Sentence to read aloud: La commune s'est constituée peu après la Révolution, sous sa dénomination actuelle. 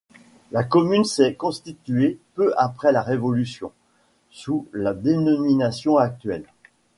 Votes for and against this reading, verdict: 0, 2, rejected